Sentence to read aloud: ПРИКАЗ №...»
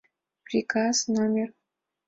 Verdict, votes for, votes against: accepted, 2, 0